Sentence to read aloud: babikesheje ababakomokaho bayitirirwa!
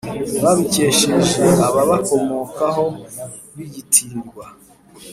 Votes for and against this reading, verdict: 1, 2, rejected